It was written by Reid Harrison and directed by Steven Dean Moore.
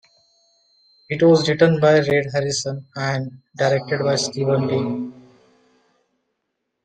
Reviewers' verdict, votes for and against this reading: rejected, 0, 2